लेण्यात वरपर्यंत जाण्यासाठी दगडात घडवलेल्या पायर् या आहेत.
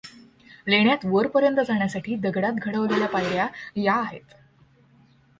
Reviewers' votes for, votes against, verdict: 1, 2, rejected